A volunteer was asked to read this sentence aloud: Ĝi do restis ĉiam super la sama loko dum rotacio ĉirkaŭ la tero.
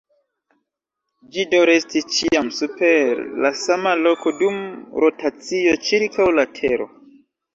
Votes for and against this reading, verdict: 0, 2, rejected